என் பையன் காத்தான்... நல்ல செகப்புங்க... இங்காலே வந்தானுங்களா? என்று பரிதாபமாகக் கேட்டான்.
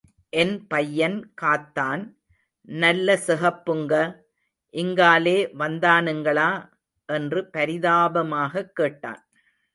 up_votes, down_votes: 2, 0